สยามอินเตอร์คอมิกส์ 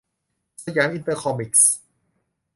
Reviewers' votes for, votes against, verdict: 0, 2, rejected